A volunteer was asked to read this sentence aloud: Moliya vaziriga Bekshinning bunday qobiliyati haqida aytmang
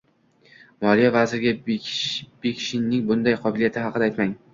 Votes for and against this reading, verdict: 0, 2, rejected